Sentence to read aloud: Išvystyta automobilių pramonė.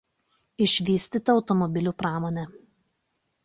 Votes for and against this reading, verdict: 2, 0, accepted